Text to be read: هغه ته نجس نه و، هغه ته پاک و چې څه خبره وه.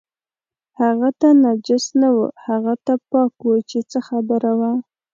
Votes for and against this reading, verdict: 2, 0, accepted